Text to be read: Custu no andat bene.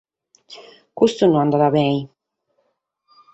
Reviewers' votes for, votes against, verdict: 4, 0, accepted